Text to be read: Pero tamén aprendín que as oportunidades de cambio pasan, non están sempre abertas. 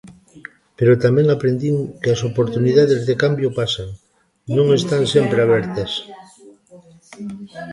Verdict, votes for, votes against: rejected, 0, 2